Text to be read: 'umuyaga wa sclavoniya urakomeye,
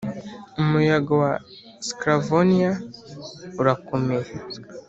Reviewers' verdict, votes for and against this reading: accepted, 3, 0